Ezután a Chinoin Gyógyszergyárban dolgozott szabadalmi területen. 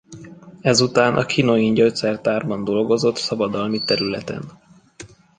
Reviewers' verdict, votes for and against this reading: rejected, 1, 2